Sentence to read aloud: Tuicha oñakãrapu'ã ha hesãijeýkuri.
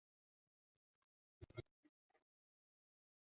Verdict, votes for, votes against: rejected, 0, 2